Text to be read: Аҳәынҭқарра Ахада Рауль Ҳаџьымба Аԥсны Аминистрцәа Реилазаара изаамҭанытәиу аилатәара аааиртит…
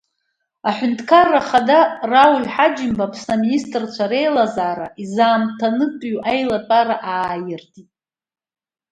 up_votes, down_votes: 2, 0